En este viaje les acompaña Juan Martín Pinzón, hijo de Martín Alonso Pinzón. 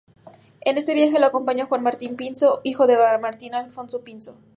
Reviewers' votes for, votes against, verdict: 0, 2, rejected